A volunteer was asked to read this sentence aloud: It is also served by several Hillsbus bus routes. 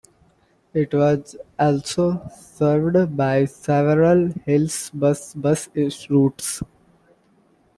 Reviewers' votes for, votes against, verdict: 0, 2, rejected